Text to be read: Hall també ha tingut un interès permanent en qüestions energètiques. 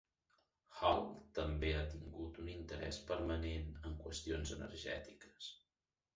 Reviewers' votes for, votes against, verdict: 0, 2, rejected